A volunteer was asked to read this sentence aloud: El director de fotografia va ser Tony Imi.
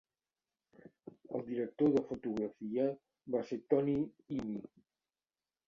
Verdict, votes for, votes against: accepted, 2, 1